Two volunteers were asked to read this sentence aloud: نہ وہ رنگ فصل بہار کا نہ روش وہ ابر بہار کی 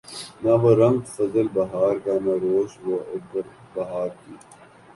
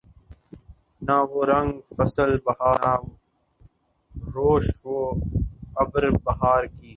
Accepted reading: first